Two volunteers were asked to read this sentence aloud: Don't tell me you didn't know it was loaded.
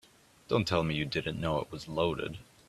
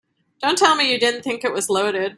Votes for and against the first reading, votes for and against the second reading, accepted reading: 3, 0, 0, 2, first